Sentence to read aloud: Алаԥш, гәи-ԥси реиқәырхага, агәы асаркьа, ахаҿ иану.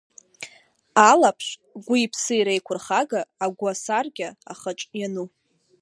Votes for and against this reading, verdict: 0, 2, rejected